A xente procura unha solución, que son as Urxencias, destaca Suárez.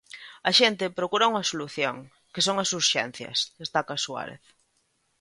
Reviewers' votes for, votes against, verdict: 2, 0, accepted